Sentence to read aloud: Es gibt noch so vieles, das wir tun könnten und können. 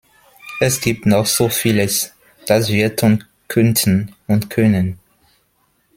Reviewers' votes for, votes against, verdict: 2, 0, accepted